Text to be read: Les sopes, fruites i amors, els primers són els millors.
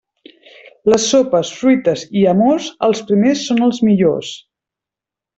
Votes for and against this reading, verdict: 0, 2, rejected